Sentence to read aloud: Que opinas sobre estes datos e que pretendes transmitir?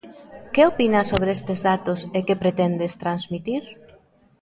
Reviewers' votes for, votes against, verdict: 1, 2, rejected